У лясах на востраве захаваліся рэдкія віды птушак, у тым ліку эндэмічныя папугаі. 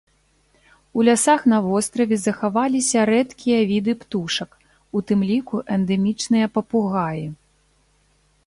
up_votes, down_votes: 2, 0